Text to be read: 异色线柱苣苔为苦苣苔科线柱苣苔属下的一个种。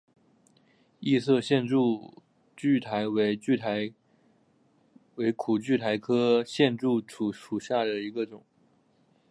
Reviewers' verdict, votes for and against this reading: accepted, 2, 1